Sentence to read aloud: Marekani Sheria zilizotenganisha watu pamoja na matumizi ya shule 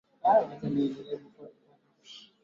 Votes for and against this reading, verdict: 0, 2, rejected